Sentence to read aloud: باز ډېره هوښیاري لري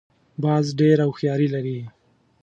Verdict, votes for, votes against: accepted, 2, 0